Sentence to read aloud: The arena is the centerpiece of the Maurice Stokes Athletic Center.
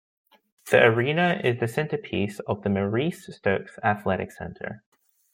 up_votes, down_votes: 2, 0